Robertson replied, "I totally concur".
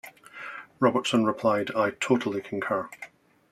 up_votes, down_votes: 2, 0